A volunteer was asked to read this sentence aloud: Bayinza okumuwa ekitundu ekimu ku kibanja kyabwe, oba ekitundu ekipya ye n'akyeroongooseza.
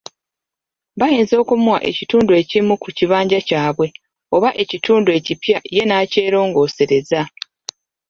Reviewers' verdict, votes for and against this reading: accepted, 2, 1